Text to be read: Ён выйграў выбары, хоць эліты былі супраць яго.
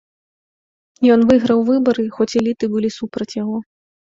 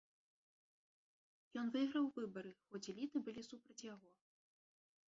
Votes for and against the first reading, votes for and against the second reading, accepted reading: 2, 0, 1, 2, first